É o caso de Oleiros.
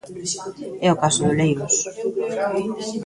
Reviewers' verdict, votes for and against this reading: rejected, 1, 2